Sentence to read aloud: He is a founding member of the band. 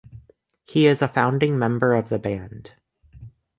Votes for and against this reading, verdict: 2, 0, accepted